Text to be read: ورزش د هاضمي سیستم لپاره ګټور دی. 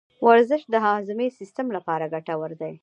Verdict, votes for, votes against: accepted, 2, 1